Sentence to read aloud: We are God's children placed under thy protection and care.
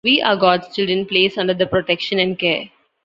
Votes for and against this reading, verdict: 0, 2, rejected